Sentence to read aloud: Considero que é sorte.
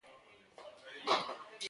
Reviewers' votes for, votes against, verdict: 0, 2, rejected